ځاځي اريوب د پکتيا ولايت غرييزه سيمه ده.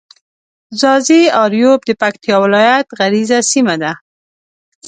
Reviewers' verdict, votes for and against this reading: accepted, 2, 0